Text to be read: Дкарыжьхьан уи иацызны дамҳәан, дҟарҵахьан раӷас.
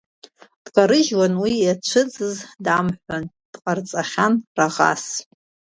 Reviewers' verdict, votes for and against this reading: accepted, 2, 1